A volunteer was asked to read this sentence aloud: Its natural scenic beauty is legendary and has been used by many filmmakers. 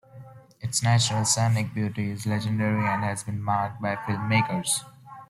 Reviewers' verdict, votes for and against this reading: rejected, 0, 2